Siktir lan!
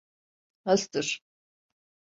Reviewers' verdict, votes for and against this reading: rejected, 0, 2